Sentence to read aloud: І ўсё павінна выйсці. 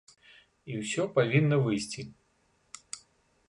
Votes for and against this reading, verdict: 2, 0, accepted